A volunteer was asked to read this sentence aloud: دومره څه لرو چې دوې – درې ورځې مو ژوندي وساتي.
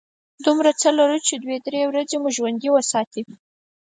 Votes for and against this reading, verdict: 4, 0, accepted